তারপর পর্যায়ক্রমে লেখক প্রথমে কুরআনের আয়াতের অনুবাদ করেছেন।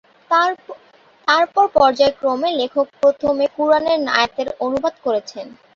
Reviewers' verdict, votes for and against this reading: rejected, 6, 6